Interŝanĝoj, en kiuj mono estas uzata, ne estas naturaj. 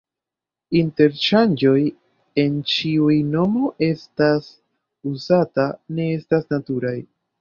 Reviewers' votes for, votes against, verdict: 1, 3, rejected